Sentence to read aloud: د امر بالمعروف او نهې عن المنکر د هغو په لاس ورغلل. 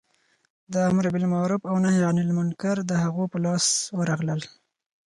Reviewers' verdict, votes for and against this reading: accepted, 4, 0